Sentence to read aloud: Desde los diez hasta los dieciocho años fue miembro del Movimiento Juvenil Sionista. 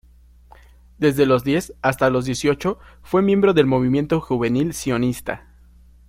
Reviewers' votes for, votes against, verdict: 1, 2, rejected